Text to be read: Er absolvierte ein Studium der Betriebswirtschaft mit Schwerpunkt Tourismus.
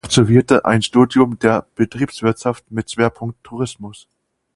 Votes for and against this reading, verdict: 0, 4, rejected